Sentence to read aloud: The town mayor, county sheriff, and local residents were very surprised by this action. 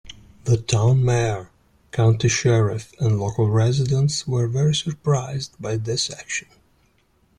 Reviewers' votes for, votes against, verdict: 2, 0, accepted